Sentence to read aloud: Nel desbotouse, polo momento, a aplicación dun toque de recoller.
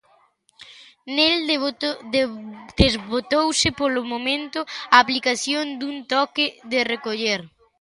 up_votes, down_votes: 0, 2